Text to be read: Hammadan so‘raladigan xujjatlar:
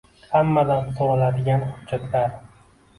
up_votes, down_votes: 0, 2